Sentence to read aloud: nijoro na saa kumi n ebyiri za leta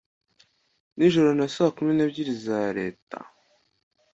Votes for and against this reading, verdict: 2, 0, accepted